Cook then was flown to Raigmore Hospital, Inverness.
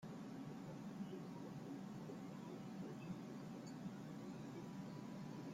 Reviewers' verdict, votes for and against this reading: rejected, 0, 2